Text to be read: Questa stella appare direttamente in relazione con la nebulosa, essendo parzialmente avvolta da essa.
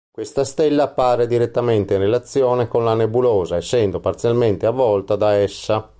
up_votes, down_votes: 2, 0